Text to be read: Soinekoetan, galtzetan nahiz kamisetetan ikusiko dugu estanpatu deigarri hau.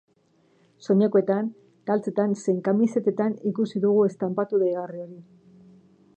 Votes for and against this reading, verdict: 0, 3, rejected